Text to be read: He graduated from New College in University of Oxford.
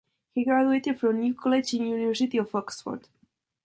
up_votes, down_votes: 0, 2